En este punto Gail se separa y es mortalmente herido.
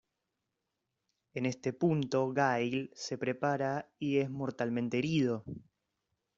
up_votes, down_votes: 0, 2